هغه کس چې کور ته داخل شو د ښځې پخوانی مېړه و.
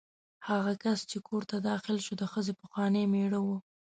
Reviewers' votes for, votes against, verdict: 2, 0, accepted